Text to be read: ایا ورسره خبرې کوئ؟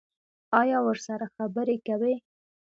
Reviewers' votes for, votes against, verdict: 2, 0, accepted